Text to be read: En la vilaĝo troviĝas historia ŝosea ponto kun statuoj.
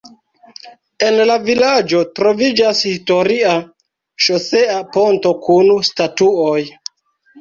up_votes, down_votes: 0, 2